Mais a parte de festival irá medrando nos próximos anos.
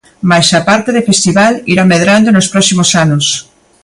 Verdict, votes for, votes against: rejected, 0, 2